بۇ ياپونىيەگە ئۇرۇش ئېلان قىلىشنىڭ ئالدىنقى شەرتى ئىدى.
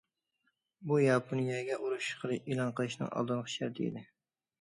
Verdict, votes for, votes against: rejected, 0, 2